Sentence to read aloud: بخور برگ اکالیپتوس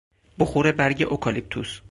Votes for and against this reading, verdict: 4, 0, accepted